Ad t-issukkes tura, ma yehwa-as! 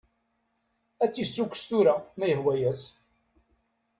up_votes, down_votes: 1, 2